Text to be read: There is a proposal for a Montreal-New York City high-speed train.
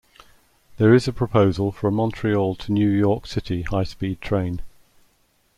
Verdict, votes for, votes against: rejected, 1, 2